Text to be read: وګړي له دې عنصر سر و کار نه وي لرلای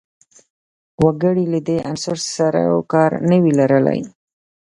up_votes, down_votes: 2, 0